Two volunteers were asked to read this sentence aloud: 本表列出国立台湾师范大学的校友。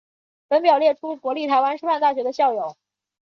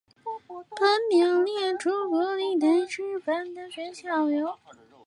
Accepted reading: first